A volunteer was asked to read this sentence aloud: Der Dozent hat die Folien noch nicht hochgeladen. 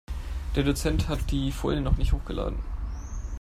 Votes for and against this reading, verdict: 3, 0, accepted